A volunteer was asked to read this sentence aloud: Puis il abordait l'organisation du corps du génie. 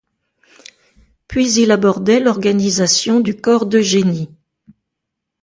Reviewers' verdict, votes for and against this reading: rejected, 1, 2